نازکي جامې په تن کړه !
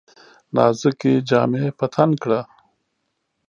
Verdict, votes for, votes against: accepted, 2, 0